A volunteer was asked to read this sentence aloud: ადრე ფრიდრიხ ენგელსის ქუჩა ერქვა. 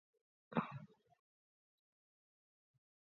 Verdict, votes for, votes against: rejected, 0, 2